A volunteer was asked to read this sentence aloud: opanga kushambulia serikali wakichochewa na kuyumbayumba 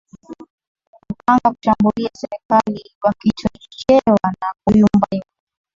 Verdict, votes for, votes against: rejected, 3, 5